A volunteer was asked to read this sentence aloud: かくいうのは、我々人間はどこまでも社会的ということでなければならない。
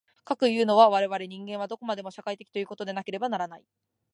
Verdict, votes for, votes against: accepted, 2, 0